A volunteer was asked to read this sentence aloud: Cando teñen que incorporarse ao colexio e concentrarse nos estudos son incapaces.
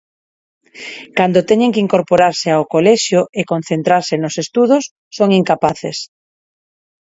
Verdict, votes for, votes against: accepted, 4, 0